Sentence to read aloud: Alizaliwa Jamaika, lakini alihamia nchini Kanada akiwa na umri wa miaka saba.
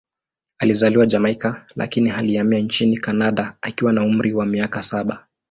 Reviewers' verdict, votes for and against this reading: accepted, 2, 0